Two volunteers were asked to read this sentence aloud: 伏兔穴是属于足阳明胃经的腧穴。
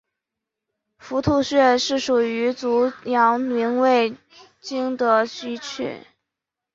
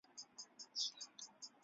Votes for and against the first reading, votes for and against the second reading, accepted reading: 6, 2, 0, 2, first